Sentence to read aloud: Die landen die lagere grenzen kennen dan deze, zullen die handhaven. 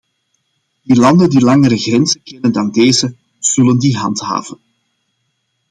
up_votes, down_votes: 0, 2